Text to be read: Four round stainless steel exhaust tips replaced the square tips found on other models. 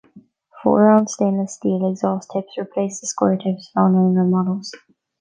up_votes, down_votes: 0, 2